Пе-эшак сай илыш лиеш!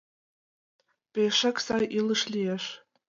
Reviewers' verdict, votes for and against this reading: accepted, 2, 0